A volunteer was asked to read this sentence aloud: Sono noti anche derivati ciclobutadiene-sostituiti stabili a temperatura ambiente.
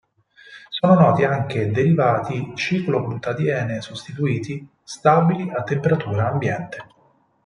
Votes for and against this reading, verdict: 4, 2, accepted